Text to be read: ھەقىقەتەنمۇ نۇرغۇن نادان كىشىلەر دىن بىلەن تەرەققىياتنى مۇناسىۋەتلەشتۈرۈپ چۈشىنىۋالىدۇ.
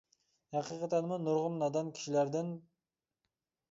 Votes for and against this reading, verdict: 0, 2, rejected